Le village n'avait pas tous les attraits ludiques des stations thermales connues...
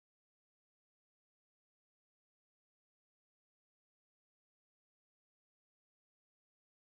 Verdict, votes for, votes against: rejected, 1, 2